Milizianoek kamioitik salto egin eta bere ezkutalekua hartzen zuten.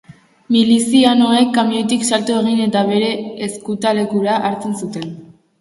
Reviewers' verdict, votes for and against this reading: rejected, 2, 2